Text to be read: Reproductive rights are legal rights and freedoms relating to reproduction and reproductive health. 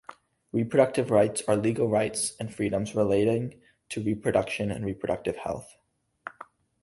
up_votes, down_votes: 2, 0